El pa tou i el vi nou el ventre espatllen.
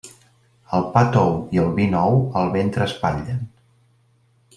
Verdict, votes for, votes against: accepted, 2, 1